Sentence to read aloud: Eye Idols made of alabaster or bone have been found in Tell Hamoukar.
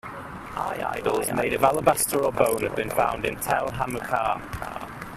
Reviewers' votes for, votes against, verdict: 1, 2, rejected